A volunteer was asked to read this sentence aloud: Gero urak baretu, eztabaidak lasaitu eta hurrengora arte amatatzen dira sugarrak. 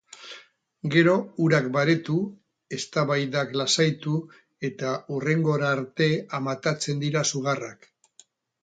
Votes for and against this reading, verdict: 2, 0, accepted